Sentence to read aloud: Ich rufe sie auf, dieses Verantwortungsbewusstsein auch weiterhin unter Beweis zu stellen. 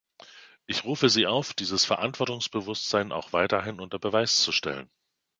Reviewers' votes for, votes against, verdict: 2, 0, accepted